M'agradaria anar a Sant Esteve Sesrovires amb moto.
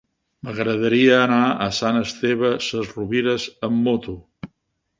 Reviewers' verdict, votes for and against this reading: accepted, 3, 0